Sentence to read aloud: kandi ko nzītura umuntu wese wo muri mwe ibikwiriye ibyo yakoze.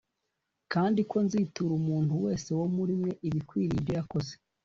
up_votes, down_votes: 2, 0